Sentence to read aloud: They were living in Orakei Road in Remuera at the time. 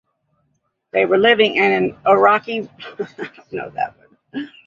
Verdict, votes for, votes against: rejected, 0, 2